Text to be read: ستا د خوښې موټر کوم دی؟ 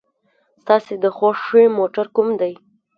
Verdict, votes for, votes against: rejected, 0, 2